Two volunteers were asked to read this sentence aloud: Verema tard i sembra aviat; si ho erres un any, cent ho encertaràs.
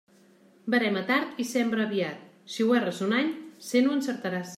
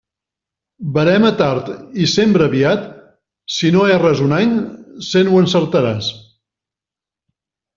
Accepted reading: first